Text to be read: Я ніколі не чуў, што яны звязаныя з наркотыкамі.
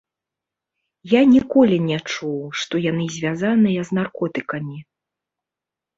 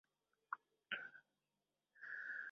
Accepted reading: first